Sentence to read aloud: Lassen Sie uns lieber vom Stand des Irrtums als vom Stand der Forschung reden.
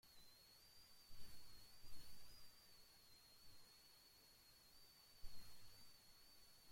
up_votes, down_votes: 0, 2